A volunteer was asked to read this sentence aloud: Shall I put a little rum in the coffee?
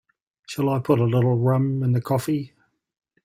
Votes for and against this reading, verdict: 0, 2, rejected